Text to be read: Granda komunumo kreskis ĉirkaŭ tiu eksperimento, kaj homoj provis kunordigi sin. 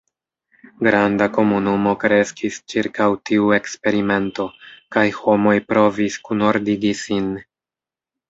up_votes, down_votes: 2, 0